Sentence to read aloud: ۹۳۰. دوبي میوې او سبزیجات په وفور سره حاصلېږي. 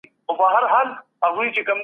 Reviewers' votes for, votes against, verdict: 0, 2, rejected